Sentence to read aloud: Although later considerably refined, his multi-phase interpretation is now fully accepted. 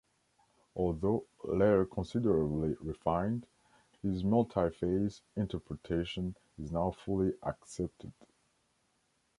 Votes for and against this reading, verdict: 2, 0, accepted